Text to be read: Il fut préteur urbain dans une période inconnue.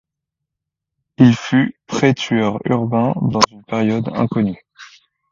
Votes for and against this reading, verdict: 1, 2, rejected